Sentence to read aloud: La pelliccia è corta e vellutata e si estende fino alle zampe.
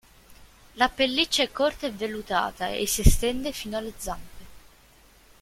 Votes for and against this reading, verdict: 0, 2, rejected